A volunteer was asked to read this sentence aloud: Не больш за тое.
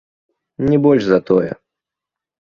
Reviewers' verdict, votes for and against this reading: accepted, 3, 0